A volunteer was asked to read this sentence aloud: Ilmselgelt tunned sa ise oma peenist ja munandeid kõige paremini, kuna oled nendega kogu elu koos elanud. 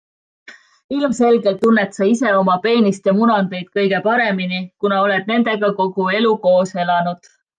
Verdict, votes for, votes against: accepted, 2, 0